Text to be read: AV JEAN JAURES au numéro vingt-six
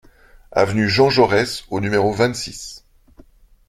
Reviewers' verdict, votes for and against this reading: rejected, 0, 2